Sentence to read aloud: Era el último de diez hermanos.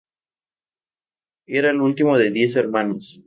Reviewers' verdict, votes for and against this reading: accepted, 2, 0